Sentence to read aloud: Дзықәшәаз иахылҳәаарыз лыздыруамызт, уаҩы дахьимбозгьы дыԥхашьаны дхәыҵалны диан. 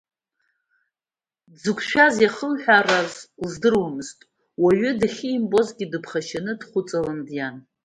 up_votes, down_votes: 2, 0